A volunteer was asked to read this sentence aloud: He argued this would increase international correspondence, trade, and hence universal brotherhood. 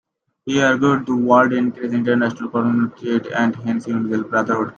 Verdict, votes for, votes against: rejected, 0, 2